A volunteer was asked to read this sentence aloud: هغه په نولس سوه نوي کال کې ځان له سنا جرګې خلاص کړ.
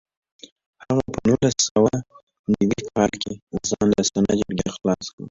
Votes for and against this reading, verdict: 0, 3, rejected